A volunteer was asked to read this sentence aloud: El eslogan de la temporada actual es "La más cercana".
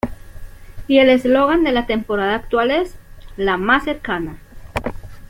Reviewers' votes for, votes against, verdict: 0, 2, rejected